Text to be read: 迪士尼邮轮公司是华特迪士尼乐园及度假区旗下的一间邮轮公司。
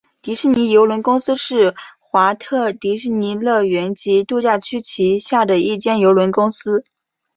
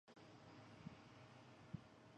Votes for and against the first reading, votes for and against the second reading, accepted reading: 4, 0, 0, 5, first